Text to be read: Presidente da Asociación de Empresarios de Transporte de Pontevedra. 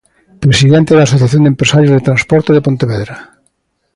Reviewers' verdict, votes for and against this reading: accepted, 2, 0